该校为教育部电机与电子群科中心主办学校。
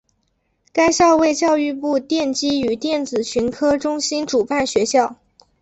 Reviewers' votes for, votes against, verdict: 2, 0, accepted